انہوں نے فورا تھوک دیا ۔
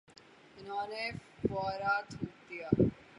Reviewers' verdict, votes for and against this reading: rejected, 0, 3